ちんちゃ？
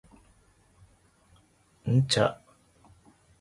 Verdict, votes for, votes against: rejected, 0, 2